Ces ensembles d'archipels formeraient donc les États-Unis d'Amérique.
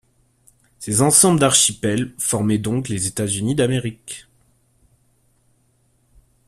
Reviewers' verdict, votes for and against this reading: rejected, 0, 2